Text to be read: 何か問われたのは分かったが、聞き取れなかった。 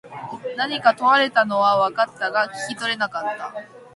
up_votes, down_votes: 0, 2